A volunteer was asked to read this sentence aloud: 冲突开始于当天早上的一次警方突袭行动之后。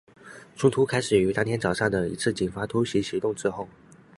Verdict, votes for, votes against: accepted, 2, 0